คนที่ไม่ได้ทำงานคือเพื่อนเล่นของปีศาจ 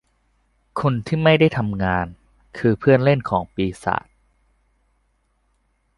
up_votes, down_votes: 2, 0